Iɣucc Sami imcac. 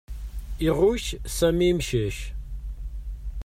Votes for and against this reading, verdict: 2, 0, accepted